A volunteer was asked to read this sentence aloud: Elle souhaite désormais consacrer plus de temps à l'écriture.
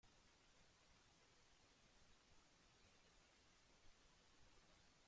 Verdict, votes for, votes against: rejected, 0, 2